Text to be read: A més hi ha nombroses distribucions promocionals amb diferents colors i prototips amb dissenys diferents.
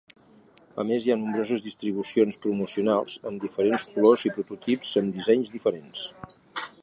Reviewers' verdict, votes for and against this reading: rejected, 1, 2